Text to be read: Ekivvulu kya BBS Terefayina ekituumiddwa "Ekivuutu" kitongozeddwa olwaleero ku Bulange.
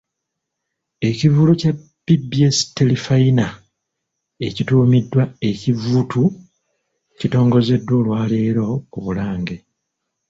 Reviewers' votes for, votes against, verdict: 2, 0, accepted